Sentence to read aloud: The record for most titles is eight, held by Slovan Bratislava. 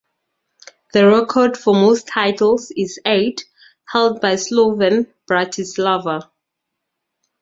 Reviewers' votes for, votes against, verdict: 2, 2, rejected